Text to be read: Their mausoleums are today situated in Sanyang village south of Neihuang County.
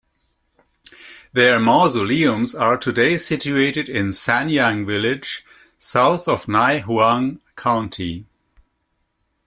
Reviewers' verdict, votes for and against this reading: accepted, 2, 1